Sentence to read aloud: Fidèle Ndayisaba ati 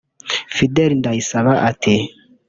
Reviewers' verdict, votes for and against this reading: rejected, 1, 2